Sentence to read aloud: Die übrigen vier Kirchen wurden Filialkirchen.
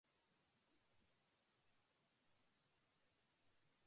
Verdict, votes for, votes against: rejected, 0, 2